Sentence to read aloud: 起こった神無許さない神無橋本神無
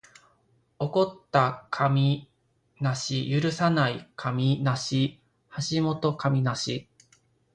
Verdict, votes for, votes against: rejected, 1, 2